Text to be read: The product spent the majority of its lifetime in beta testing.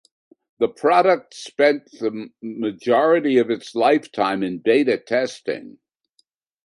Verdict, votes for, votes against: accepted, 2, 1